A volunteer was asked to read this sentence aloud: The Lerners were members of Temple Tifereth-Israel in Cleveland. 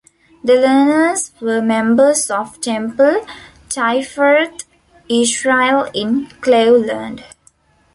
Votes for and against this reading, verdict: 1, 2, rejected